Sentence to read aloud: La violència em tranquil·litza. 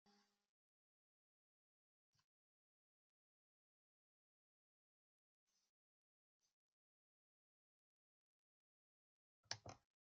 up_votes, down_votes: 0, 2